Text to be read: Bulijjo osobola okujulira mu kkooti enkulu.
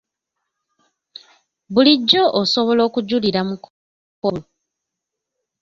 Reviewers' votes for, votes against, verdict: 0, 2, rejected